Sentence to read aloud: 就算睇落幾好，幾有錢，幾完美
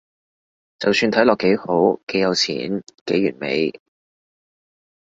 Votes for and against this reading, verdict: 2, 0, accepted